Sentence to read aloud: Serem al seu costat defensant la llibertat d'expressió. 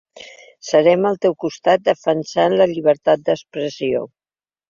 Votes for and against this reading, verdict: 1, 2, rejected